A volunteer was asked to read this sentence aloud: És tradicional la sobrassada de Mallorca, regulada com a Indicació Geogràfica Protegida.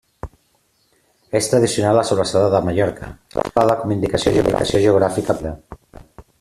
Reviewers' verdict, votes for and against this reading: rejected, 0, 2